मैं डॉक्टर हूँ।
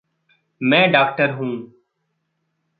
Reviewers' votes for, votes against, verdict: 2, 0, accepted